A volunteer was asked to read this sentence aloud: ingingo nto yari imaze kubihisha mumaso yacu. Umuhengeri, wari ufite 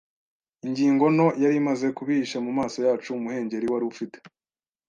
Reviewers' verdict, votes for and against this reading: accepted, 2, 0